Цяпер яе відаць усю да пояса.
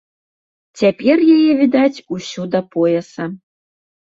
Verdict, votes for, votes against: accepted, 2, 0